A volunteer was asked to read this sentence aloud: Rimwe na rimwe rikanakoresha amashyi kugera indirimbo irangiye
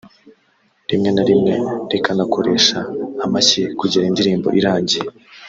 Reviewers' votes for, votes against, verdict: 2, 0, accepted